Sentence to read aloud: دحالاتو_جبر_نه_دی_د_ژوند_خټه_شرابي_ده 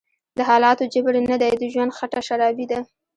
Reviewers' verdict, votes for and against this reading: accepted, 2, 1